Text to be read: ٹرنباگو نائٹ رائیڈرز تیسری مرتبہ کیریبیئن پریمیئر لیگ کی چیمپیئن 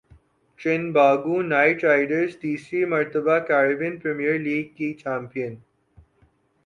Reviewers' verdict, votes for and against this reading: accepted, 5, 0